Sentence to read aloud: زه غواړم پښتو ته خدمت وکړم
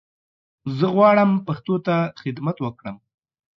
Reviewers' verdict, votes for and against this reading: accepted, 2, 0